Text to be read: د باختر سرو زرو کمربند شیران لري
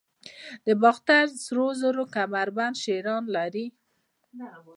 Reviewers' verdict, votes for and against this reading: accepted, 2, 0